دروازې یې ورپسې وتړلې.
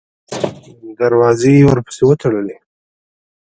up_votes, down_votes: 1, 2